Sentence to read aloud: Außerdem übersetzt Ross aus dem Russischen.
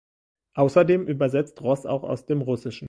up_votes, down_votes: 1, 2